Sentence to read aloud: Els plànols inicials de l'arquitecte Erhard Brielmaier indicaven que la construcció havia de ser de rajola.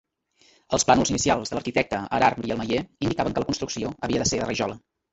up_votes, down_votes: 0, 2